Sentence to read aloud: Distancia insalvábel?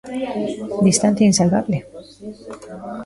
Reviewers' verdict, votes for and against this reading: rejected, 0, 2